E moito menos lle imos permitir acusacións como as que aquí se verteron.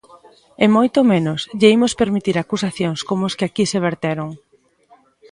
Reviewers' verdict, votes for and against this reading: rejected, 1, 2